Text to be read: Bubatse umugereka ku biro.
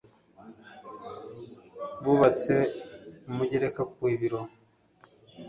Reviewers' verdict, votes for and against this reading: accepted, 2, 0